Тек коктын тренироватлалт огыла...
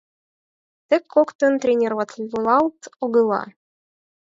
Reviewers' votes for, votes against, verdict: 4, 0, accepted